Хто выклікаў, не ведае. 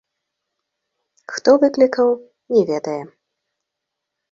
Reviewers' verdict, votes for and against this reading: accepted, 2, 0